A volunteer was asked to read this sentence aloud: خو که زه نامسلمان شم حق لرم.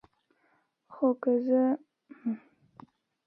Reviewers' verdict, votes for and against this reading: rejected, 1, 2